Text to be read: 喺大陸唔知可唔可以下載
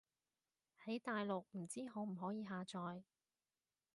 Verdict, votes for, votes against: accepted, 2, 0